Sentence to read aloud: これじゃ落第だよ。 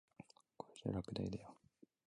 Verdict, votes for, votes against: rejected, 0, 2